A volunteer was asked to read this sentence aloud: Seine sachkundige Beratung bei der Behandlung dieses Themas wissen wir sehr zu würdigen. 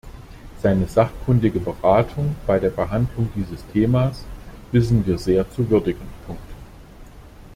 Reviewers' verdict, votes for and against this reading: accepted, 2, 0